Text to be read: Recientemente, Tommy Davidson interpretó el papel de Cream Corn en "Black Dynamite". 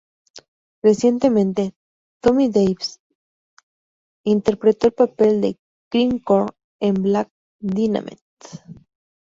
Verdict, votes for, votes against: accepted, 2, 0